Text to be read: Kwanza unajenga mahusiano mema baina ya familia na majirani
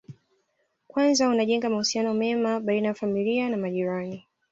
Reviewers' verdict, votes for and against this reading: accepted, 2, 0